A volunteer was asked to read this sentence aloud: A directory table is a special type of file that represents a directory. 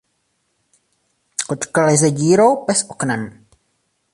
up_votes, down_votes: 0, 2